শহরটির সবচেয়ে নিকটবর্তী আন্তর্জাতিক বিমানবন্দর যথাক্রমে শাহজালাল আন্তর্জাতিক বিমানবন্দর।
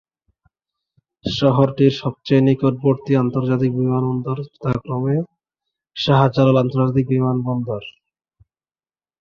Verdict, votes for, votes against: rejected, 2, 2